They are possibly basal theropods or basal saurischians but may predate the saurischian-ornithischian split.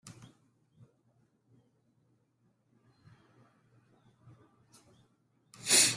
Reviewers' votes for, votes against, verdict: 0, 2, rejected